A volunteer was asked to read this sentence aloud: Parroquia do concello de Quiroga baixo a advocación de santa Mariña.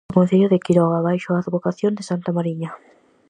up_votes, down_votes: 0, 4